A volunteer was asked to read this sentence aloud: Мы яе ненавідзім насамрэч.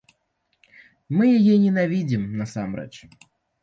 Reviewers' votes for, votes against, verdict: 2, 0, accepted